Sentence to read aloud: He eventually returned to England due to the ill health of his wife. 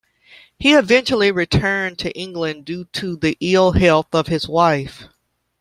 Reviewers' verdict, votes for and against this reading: accepted, 2, 0